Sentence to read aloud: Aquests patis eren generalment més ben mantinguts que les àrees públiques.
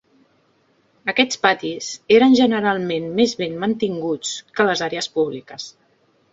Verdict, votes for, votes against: accepted, 2, 0